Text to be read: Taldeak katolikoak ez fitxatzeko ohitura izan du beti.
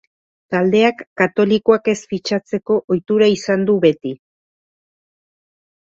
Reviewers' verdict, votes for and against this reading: accepted, 2, 0